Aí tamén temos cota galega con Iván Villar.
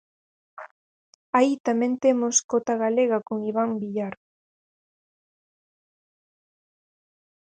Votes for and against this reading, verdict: 4, 0, accepted